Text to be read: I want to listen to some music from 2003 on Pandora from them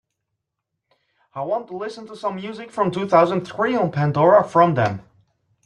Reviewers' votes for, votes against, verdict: 0, 2, rejected